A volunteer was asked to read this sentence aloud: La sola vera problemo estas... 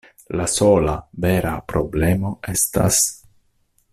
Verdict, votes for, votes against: accepted, 2, 0